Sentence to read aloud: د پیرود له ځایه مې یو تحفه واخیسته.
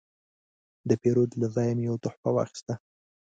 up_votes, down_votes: 3, 0